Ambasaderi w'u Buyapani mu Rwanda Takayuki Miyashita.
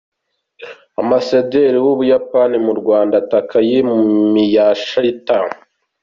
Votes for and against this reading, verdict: 2, 1, accepted